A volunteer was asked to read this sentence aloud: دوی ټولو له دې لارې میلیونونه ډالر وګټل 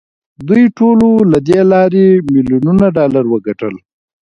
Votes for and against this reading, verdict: 0, 2, rejected